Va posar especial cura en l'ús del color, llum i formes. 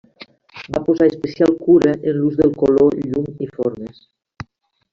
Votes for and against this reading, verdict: 2, 1, accepted